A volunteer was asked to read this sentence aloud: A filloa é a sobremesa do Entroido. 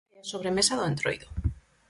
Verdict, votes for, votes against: rejected, 0, 4